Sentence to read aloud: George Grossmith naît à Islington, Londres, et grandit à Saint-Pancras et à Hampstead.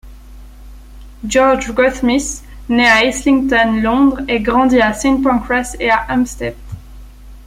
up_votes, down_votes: 1, 2